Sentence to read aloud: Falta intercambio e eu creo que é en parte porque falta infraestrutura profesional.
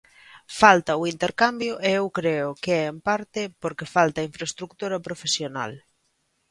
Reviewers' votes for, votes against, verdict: 1, 2, rejected